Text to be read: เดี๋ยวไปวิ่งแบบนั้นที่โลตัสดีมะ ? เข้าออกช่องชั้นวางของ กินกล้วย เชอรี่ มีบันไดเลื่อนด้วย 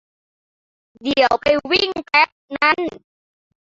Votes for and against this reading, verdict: 0, 2, rejected